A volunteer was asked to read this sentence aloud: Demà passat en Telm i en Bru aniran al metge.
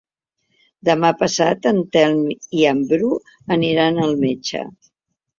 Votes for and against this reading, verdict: 3, 0, accepted